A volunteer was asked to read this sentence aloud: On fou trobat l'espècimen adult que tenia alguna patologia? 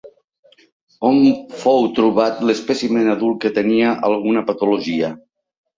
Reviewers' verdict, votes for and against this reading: accepted, 2, 1